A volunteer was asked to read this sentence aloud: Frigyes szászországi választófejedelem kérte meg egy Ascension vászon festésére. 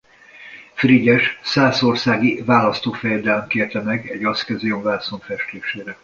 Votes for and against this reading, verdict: 1, 2, rejected